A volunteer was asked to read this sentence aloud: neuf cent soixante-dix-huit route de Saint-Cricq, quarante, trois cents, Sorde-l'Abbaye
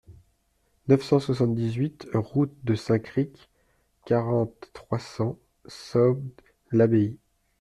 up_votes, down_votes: 1, 2